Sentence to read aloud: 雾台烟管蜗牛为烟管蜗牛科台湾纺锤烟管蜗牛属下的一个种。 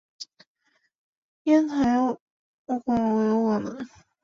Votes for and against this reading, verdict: 1, 2, rejected